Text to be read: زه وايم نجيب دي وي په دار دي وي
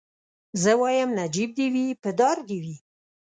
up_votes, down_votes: 2, 0